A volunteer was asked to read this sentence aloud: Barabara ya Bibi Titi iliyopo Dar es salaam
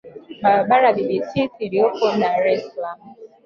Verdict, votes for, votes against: rejected, 1, 2